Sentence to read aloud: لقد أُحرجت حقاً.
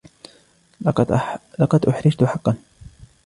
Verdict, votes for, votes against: rejected, 1, 2